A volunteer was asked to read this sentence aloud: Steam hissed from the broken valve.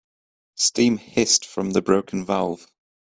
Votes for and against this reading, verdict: 2, 0, accepted